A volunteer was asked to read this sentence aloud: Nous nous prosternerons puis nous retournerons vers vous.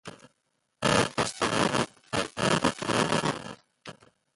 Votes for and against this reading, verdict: 0, 2, rejected